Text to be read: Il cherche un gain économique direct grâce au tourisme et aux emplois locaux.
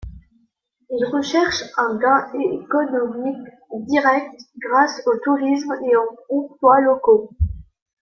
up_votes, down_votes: 0, 2